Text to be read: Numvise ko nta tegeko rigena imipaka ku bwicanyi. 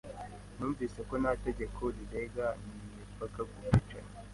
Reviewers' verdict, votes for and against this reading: rejected, 0, 2